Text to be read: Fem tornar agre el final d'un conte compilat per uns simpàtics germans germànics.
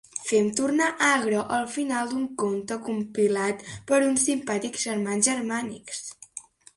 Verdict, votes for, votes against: accepted, 2, 0